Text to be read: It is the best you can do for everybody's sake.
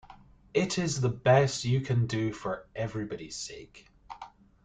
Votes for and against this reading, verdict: 2, 0, accepted